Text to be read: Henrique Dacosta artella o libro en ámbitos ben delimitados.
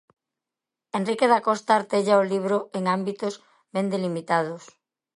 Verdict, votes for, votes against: accepted, 2, 0